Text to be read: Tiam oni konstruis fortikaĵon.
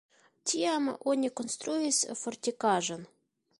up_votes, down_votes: 2, 1